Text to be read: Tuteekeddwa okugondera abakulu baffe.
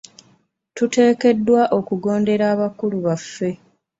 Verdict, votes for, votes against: accepted, 2, 0